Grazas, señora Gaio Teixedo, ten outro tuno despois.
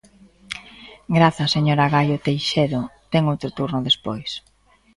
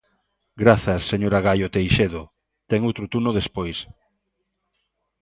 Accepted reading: second